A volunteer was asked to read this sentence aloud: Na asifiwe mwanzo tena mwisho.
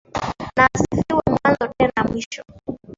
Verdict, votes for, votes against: rejected, 0, 2